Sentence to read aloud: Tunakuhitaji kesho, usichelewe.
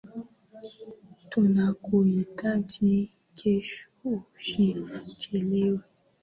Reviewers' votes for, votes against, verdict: 2, 1, accepted